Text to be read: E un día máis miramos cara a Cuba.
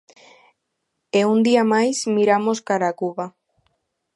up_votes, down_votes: 2, 0